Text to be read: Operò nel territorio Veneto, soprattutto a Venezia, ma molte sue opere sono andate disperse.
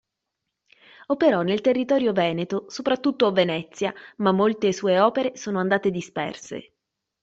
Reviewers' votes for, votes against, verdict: 2, 0, accepted